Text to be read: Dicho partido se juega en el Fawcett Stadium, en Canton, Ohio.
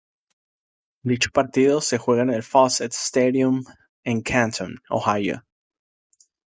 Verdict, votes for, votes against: accepted, 2, 0